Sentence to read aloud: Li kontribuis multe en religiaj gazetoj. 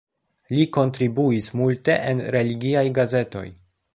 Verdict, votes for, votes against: accepted, 2, 0